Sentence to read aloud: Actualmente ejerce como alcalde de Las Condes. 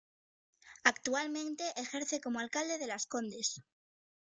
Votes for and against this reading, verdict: 0, 2, rejected